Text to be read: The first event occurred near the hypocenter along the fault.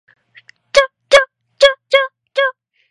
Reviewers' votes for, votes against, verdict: 0, 2, rejected